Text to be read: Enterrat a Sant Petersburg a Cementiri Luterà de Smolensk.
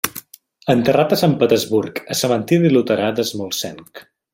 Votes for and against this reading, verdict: 0, 2, rejected